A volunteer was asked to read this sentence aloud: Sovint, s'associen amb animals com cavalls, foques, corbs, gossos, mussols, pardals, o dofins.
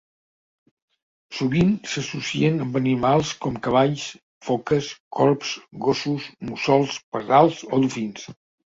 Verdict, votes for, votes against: accepted, 2, 0